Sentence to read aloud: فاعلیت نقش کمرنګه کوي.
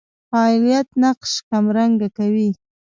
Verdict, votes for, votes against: rejected, 0, 2